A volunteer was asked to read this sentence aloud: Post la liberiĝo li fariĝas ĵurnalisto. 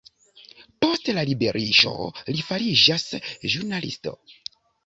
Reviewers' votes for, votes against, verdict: 3, 0, accepted